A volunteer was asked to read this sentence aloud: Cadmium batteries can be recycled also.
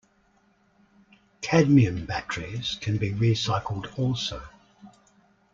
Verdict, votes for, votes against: accepted, 2, 0